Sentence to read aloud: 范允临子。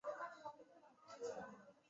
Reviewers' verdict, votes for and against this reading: rejected, 1, 2